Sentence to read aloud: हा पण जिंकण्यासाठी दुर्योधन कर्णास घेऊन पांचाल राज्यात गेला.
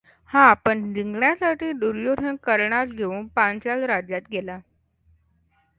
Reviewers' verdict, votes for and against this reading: rejected, 0, 2